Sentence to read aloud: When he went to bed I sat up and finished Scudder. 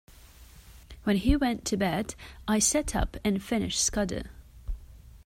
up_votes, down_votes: 2, 0